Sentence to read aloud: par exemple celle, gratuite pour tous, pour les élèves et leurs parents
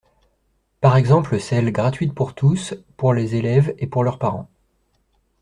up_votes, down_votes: 0, 2